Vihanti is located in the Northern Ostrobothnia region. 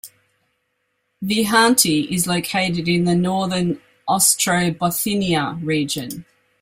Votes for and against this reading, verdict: 0, 2, rejected